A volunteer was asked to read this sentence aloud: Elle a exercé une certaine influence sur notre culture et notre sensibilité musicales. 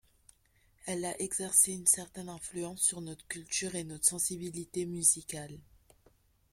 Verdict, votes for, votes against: accepted, 3, 0